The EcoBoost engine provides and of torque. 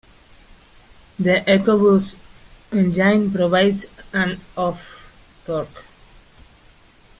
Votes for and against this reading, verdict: 1, 2, rejected